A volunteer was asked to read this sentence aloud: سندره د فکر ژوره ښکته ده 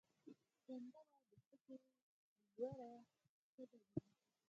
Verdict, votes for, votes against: rejected, 2, 4